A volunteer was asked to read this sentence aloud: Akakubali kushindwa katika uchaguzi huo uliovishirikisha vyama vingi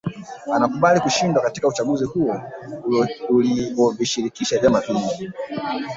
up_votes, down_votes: 1, 3